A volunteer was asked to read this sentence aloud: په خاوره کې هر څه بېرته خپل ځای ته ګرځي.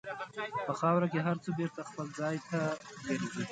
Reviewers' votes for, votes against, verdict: 1, 2, rejected